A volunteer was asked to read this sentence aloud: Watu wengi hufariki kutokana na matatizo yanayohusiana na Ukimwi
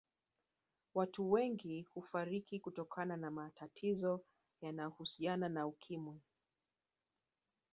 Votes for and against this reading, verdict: 1, 2, rejected